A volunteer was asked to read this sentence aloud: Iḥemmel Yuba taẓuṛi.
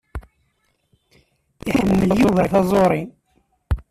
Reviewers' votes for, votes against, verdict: 0, 2, rejected